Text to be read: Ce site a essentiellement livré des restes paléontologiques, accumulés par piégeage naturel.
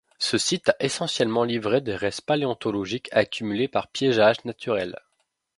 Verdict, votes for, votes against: accepted, 2, 0